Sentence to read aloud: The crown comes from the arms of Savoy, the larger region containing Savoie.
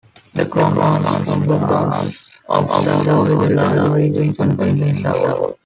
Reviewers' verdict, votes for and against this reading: rejected, 0, 3